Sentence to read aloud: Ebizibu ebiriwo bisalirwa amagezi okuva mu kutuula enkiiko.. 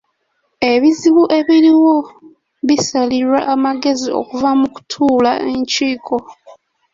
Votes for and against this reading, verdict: 2, 1, accepted